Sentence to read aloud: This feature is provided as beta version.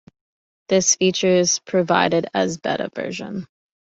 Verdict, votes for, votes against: accepted, 2, 0